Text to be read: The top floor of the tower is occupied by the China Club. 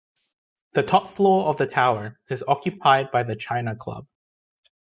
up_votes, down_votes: 0, 2